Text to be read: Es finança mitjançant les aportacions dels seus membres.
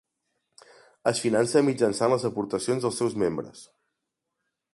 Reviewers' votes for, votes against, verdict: 2, 0, accepted